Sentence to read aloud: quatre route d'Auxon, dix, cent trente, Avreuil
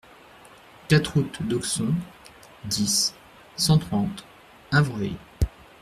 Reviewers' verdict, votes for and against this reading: accepted, 2, 0